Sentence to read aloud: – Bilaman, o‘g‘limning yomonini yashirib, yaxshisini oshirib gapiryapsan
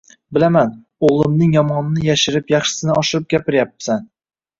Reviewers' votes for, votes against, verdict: 2, 0, accepted